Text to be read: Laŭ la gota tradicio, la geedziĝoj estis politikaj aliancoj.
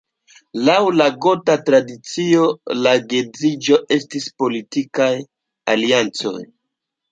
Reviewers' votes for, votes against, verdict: 0, 2, rejected